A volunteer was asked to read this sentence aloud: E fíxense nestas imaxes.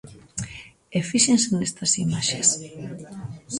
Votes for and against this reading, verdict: 1, 2, rejected